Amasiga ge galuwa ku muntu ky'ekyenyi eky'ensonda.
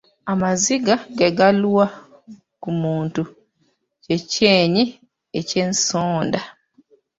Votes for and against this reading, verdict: 0, 2, rejected